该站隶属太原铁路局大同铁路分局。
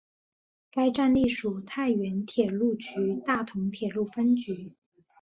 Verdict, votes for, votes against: accepted, 3, 0